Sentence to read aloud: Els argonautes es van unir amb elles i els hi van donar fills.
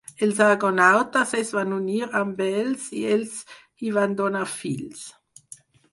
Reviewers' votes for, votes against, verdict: 0, 4, rejected